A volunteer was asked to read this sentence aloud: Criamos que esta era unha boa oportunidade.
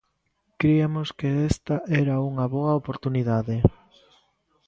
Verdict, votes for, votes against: rejected, 0, 2